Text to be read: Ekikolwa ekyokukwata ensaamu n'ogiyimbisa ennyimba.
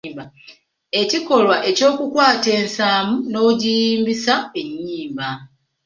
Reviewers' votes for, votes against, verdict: 2, 1, accepted